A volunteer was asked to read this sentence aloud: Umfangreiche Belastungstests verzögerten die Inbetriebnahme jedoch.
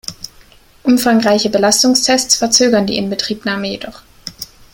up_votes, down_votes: 1, 2